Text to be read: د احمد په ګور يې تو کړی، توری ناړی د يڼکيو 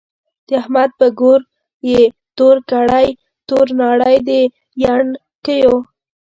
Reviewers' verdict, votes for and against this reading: rejected, 0, 2